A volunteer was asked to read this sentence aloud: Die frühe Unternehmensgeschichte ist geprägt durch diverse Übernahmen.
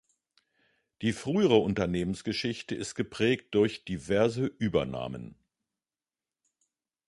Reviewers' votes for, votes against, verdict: 1, 3, rejected